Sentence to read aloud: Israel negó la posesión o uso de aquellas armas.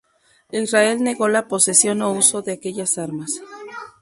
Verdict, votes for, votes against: rejected, 0, 2